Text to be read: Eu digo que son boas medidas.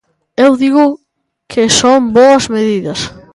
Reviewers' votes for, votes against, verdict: 2, 0, accepted